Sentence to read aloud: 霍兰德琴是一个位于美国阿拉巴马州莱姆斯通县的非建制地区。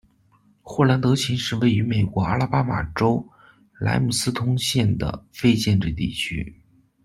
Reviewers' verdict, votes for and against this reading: accepted, 2, 0